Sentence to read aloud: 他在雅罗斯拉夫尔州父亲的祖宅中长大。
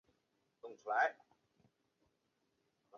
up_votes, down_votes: 0, 4